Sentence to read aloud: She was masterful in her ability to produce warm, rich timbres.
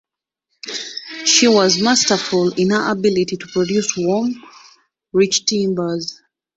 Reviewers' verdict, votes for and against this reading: rejected, 0, 2